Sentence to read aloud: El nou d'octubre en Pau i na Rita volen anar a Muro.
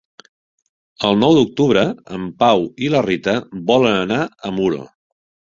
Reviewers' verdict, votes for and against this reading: rejected, 1, 2